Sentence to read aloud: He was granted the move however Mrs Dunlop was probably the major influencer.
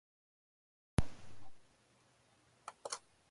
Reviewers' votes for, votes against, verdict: 0, 2, rejected